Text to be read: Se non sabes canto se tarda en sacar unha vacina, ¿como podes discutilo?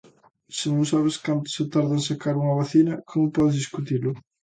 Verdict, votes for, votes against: accepted, 2, 0